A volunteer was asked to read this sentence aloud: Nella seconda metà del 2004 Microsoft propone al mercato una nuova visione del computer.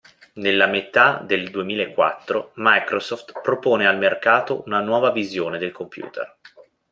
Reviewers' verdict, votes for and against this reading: rejected, 0, 2